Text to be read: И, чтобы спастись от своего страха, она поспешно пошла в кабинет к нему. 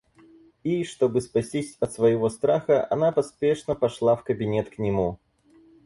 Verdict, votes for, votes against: accepted, 4, 0